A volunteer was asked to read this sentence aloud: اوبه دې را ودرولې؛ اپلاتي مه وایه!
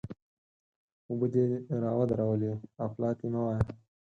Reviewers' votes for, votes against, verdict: 4, 0, accepted